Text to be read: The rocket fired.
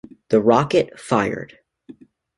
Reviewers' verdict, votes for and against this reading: accepted, 2, 0